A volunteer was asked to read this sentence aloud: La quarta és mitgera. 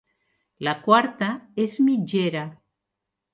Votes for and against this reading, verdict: 4, 0, accepted